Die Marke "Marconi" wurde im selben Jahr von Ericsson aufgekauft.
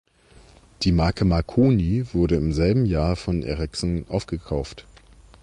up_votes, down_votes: 2, 0